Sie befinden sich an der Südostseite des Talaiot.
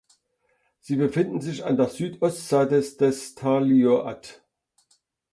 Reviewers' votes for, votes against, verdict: 0, 2, rejected